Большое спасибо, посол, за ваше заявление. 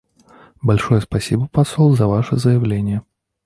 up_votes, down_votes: 0, 2